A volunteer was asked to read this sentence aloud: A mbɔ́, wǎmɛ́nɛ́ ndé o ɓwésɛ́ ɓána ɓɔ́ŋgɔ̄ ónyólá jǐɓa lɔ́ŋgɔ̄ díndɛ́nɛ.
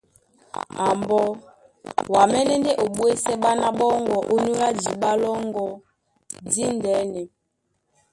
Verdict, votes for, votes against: rejected, 0, 2